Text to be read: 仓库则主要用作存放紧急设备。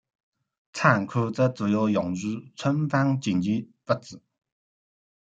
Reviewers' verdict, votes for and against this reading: rejected, 1, 2